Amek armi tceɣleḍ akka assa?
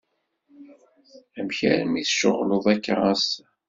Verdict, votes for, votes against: accepted, 2, 0